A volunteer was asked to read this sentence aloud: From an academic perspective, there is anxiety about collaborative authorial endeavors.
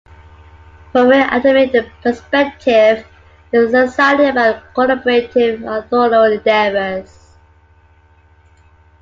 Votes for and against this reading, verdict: 0, 2, rejected